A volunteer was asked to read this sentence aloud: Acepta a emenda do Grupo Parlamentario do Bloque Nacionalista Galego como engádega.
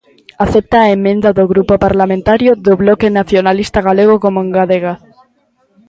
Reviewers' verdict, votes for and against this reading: rejected, 0, 2